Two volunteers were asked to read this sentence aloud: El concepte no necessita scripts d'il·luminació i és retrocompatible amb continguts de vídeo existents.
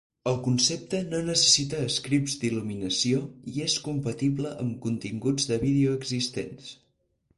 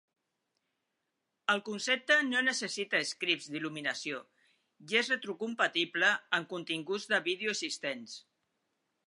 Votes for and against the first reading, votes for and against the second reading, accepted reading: 0, 4, 3, 0, second